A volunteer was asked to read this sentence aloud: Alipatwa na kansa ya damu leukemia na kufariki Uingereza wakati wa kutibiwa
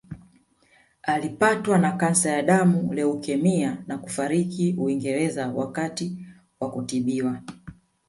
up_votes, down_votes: 0, 2